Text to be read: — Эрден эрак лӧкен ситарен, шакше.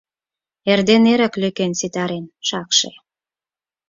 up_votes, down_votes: 4, 0